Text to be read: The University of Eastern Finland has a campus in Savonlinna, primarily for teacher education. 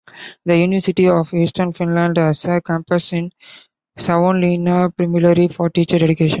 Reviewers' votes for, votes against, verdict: 2, 1, accepted